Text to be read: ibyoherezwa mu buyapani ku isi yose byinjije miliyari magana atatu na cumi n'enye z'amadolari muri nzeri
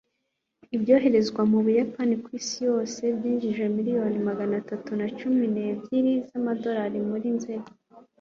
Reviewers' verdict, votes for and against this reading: rejected, 1, 2